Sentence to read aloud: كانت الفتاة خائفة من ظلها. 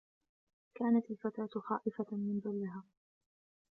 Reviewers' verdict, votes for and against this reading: accepted, 2, 0